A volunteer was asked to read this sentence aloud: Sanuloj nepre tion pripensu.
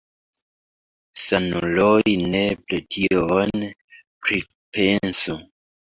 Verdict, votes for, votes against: rejected, 0, 2